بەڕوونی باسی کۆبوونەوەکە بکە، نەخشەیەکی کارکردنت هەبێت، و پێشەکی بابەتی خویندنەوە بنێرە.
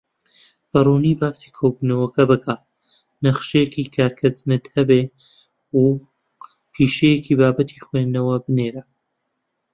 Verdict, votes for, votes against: rejected, 0, 2